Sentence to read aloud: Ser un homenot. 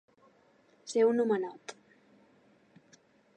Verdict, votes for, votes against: accepted, 3, 0